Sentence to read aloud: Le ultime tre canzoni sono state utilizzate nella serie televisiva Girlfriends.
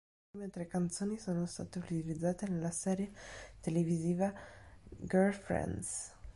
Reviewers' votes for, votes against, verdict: 2, 3, rejected